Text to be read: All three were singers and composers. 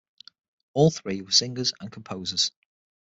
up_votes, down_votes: 6, 0